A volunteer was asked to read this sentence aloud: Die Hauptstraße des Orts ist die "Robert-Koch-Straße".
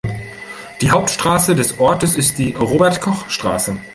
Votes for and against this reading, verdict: 0, 2, rejected